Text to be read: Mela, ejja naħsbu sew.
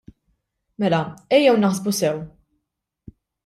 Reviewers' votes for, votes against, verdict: 1, 2, rejected